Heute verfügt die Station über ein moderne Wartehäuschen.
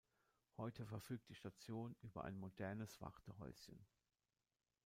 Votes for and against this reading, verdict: 0, 2, rejected